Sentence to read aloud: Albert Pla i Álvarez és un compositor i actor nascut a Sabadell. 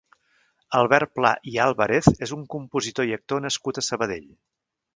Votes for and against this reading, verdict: 1, 2, rejected